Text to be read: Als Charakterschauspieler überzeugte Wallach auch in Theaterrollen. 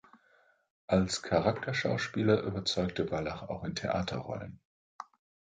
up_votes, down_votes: 2, 0